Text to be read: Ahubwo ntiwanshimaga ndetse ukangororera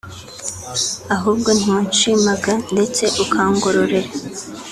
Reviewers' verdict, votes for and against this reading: accepted, 3, 0